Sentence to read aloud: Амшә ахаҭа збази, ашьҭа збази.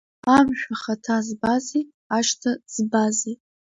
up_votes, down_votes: 2, 0